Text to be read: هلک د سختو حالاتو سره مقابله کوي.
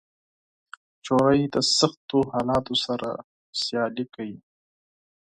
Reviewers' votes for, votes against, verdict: 2, 4, rejected